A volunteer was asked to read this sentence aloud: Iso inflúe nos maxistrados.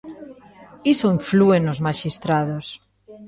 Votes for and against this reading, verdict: 1, 2, rejected